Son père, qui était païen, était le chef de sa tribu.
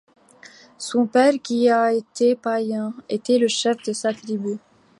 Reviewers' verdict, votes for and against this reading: rejected, 1, 2